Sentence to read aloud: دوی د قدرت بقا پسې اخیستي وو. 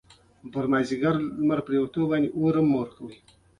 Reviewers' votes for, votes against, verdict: 1, 2, rejected